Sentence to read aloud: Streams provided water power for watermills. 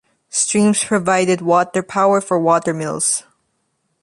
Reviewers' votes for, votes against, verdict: 2, 0, accepted